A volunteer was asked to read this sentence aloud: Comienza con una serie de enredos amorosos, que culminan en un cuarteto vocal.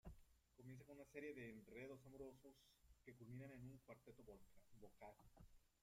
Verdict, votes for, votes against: rejected, 0, 2